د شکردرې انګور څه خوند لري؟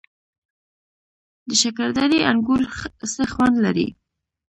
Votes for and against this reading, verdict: 2, 1, accepted